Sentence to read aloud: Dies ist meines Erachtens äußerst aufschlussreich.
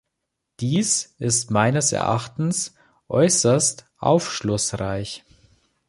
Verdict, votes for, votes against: accepted, 2, 0